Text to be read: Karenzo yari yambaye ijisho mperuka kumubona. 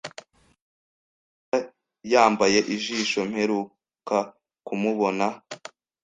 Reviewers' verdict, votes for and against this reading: accepted, 2, 0